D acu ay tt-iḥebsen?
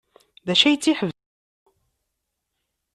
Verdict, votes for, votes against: rejected, 1, 2